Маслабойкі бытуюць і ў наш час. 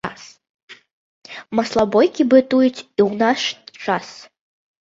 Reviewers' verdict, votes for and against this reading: accepted, 2, 0